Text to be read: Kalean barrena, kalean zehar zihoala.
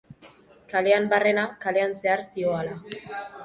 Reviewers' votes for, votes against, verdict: 3, 1, accepted